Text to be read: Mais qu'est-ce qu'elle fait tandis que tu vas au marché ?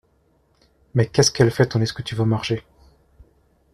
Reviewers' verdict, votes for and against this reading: accepted, 2, 0